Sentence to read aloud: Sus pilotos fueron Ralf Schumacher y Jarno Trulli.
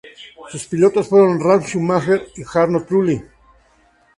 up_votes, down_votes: 2, 0